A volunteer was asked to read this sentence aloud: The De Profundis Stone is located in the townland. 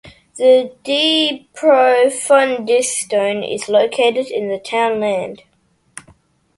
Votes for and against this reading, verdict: 2, 0, accepted